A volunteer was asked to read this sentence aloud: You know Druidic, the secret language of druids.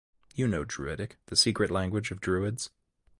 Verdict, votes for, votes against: accepted, 2, 0